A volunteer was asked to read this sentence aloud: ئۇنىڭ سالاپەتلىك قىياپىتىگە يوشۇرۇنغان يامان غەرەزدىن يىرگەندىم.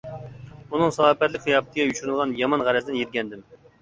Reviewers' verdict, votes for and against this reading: rejected, 0, 2